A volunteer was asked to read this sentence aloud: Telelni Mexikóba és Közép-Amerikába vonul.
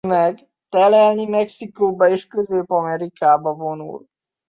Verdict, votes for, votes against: rejected, 0, 2